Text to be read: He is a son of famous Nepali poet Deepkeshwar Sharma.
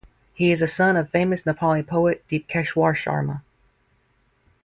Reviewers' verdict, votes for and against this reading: rejected, 0, 4